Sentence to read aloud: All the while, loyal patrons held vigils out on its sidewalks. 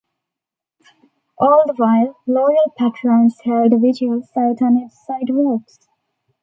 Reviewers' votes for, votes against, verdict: 2, 0, accepted